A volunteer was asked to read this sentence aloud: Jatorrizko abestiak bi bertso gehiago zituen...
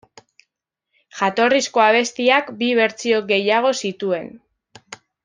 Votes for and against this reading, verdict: 1, 2, rejected